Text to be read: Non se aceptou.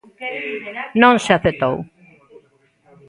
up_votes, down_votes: 1, 2